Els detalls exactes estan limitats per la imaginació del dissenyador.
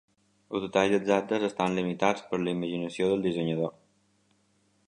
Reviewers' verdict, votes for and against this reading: accepted, 2, 0